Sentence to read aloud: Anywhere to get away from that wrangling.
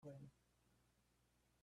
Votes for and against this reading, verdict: 0, 2, rejected